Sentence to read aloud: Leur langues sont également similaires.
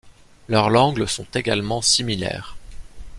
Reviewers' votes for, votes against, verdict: 1, 2, rejected